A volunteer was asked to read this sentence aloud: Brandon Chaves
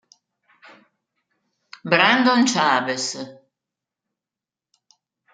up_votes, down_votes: 1, 2